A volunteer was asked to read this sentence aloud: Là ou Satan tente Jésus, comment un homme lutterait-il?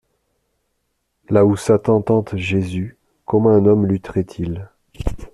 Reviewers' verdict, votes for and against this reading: accepted, 2, 0